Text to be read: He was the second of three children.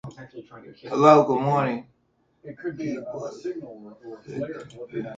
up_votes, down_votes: 0, 2